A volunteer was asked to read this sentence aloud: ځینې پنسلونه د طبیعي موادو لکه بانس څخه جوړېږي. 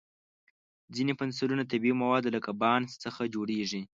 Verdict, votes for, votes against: accepted, 2, 0